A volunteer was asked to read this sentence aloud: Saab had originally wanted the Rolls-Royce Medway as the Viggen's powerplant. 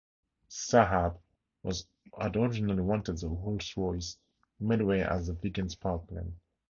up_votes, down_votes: 2, 2